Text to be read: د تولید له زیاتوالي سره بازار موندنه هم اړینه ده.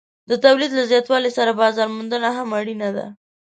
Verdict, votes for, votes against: accepted, 3, 0